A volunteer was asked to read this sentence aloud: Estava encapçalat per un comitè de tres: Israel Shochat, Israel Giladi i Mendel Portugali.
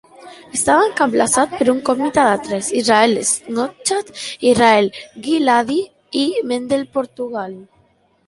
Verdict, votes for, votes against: rejected, 1, 2